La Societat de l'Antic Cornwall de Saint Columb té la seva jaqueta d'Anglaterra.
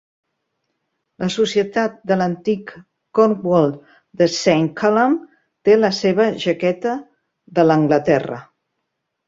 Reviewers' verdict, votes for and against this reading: rejected, 0, 2